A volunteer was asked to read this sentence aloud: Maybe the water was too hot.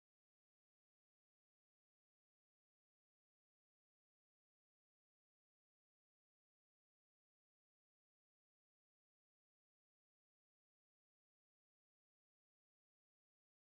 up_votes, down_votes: 0, 3